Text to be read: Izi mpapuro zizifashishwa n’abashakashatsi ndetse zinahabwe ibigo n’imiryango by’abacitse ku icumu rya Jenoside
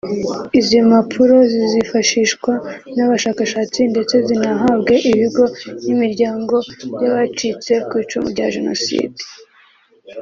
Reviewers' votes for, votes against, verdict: 2, 0, accepted